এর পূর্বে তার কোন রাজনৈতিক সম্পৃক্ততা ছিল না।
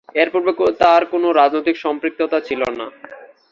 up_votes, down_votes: 2, 1